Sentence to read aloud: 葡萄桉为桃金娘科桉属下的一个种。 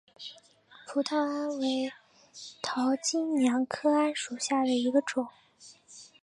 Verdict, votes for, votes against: accepted, 4, 1